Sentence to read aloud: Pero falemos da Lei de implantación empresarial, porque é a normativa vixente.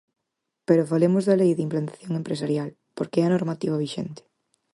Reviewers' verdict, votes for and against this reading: accepted, 4, 0